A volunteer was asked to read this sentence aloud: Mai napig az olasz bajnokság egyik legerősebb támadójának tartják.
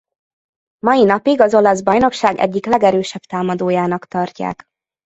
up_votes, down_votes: 2, 0